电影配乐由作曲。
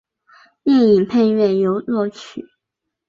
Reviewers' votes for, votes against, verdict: 2, 0, accepted